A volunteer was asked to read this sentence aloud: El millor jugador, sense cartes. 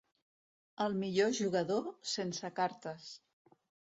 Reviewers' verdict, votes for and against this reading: accepted, 2, 0